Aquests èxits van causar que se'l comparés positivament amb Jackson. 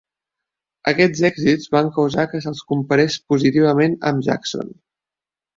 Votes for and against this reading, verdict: 0, 2, rejected